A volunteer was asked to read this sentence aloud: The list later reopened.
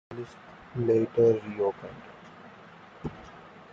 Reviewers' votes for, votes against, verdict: 0, 2, rejected